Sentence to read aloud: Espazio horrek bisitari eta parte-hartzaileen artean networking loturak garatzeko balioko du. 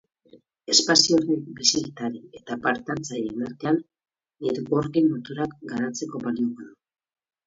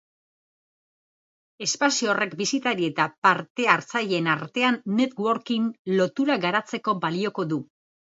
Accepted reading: second